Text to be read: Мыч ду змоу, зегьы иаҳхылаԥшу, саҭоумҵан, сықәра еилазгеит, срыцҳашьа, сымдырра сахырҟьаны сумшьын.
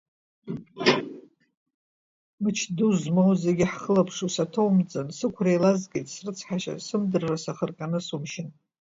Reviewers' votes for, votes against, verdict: 1, 2, rejected